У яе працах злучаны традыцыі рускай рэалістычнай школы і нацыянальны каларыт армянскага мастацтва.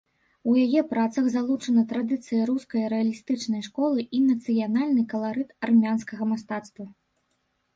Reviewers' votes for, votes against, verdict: 1, 2, rejected